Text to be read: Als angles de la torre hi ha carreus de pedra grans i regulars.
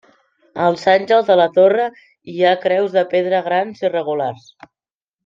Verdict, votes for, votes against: rejected, 0, 2